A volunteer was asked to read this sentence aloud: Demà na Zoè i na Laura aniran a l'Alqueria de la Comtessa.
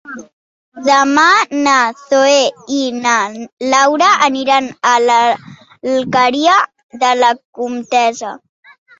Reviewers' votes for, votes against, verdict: 2, 0, accepted